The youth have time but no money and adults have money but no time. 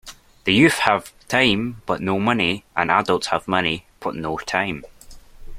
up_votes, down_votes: 2, 0